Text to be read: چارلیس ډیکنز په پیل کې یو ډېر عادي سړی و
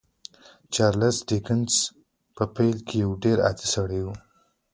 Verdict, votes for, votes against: accepted, 2, 1